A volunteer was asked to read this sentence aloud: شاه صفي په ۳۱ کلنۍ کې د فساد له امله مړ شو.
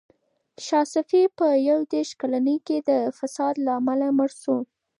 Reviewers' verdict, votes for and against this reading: rejected, 0, 2